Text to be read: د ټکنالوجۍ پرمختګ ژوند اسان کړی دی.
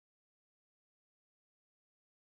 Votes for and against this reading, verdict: 1, 2, rejected